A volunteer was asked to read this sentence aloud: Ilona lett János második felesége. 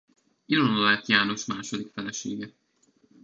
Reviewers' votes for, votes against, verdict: 0, 2, rejected